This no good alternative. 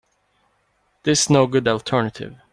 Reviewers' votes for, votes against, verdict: 2, 0, accepted